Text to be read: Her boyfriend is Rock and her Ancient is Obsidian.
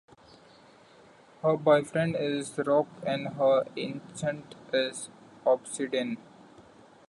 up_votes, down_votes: 2, 1